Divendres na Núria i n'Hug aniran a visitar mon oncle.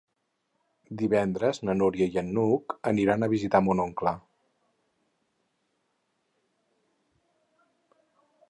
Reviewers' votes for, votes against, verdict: 0, 4, rejected